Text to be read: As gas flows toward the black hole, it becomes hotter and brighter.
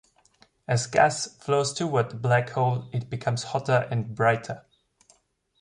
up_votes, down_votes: 2, 0